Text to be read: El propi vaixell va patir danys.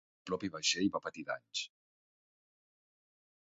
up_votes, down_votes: 1, 2